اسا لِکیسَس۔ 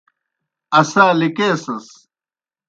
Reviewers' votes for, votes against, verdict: 2, 0, accepted